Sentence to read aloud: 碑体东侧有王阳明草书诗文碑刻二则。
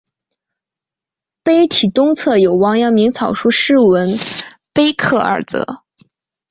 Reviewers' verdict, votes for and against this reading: accepted, 2, 0